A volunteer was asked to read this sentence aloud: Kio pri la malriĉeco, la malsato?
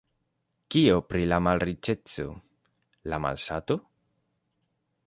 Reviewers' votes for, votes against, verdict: 2, 0, accepted